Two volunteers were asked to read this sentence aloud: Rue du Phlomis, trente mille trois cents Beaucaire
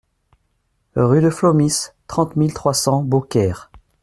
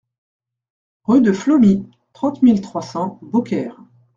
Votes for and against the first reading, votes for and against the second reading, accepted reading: 2, 0, 1, 2, first